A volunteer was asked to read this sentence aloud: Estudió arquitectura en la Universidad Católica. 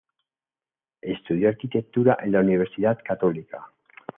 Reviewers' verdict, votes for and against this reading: accepted, 2, 0